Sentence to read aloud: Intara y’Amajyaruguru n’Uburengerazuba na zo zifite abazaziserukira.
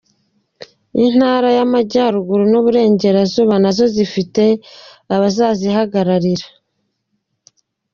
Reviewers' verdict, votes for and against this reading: rejected, 0, 2